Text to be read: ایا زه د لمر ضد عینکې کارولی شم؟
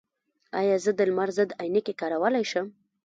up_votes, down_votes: 2, 0